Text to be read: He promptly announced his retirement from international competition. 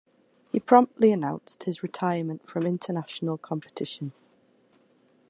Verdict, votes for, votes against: accepted, 2, 0